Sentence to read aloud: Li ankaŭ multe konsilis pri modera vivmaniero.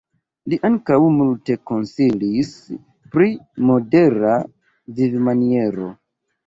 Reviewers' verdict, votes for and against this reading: rejected, 2, 3